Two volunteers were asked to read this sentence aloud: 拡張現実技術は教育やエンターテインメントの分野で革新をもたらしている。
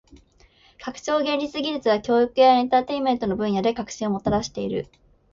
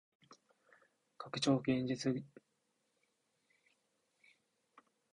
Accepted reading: first